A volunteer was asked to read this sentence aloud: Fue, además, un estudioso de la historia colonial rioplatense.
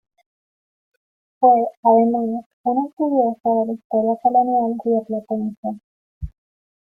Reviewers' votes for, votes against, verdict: 0, 2, rejected